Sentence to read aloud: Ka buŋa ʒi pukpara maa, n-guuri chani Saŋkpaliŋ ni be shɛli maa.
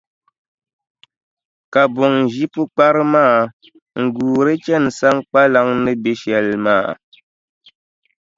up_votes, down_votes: 2, 0